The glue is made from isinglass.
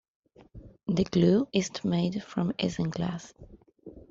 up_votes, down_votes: 2, 0